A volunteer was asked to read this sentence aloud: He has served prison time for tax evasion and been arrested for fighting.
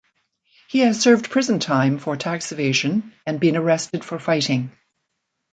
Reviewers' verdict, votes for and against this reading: accepted, 2, 0